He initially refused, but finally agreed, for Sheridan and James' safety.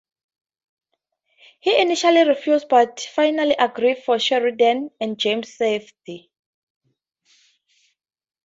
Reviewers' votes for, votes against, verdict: 4, 0, accepted